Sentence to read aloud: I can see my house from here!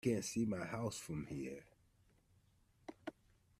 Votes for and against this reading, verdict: 1, 2, rejected